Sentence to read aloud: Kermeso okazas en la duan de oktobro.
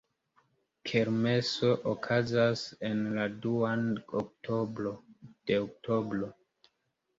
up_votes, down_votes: 2, 0